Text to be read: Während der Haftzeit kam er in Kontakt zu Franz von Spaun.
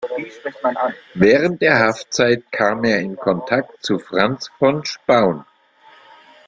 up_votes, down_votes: 1, 2